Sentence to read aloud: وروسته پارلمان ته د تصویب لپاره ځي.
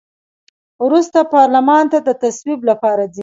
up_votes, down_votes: 2, 0